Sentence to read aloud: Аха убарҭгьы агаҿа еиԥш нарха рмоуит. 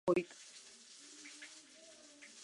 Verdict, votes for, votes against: rejected, 1, 2